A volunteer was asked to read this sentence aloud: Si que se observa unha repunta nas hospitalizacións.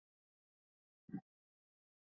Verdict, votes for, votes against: rejected, 1, 2